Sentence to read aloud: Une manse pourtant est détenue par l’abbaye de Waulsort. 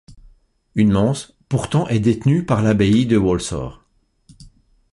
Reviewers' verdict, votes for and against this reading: accepted, 2, 0